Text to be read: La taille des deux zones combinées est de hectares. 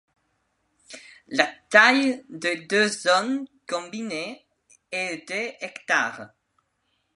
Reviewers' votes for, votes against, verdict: 1, 2, rejected